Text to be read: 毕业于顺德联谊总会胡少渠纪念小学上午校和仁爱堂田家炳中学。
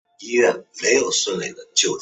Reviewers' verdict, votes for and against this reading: rejected, 0, 5